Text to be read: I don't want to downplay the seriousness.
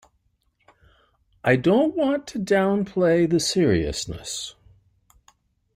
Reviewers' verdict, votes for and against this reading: accepted, 2, 0